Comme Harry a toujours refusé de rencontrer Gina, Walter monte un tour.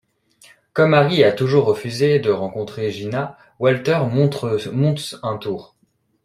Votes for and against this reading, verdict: 0, 2, rejected